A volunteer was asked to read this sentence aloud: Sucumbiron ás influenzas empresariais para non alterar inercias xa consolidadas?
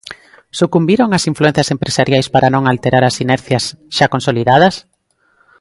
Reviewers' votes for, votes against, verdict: 0, 3, rejected